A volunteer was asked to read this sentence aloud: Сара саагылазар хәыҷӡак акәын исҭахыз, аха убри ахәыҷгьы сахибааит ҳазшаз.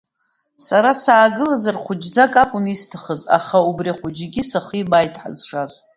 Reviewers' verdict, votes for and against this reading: accepted, 2, 0